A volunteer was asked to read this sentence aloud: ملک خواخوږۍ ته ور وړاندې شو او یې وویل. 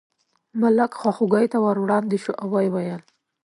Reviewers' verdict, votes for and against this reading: accepted, 2, 0